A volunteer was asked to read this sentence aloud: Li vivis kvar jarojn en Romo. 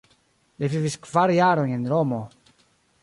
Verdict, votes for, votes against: accepted, 2, 1